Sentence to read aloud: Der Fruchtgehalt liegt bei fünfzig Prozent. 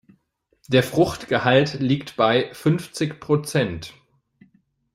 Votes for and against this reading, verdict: 2, 0, accepted